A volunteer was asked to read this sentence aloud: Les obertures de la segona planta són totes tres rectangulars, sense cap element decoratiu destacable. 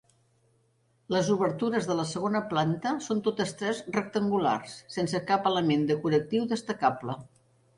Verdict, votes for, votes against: accepted, 4, 0